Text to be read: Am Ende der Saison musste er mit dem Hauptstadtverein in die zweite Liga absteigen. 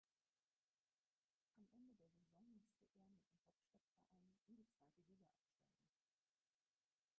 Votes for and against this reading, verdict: 0, 4, rejected